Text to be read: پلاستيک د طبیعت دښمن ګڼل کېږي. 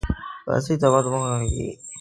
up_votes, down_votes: 1, 2